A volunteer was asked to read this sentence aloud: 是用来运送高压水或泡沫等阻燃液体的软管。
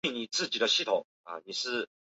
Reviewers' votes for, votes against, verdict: 0, 2, rejected